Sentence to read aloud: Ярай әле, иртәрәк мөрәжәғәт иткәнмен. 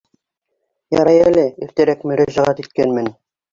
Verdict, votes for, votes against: rejected, 0, 2